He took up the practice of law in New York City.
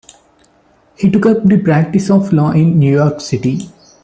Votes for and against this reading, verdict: 2, 0, accepted